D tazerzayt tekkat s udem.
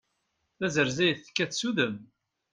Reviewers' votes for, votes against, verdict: 2, 0, accepted